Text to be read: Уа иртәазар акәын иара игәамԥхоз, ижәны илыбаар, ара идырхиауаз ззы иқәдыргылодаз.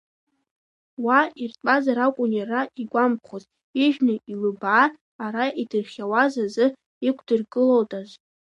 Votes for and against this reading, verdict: 2, 3, rejected